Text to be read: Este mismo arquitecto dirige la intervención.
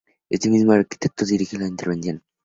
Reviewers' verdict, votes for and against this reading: accepted, 2, 0